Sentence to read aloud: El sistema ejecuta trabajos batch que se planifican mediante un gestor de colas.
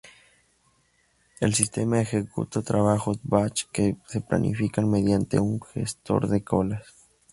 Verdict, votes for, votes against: accepted, 2, 0